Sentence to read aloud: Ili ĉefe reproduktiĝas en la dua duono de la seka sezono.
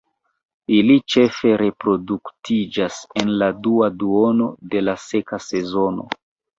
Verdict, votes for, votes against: rejected, 1, 2